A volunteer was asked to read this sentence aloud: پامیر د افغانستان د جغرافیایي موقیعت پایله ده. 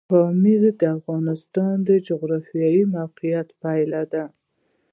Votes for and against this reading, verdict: 1, 2, rejected